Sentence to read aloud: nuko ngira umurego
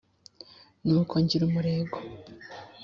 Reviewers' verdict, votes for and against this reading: accepted, 2, 0